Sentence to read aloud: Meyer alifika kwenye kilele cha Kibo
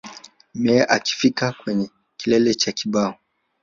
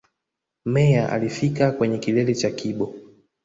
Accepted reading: second